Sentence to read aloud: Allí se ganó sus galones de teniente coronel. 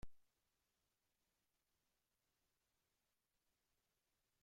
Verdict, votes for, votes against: rejected, 0, 2